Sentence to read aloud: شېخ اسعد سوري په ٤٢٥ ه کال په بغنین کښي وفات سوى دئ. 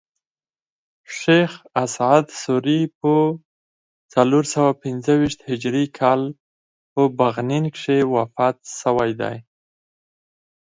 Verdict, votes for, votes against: rejected, 0, 2